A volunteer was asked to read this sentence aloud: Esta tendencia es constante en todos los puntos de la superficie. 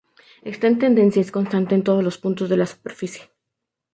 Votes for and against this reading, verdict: 0, 2, rejected